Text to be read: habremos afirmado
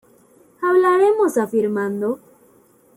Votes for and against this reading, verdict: 1, 2, rejected